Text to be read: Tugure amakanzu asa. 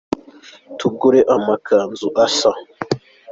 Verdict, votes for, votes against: accepted, 2, 0